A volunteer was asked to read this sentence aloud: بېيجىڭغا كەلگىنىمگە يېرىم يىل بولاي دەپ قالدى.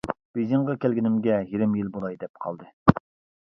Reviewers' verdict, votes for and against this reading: rejected, 0, 2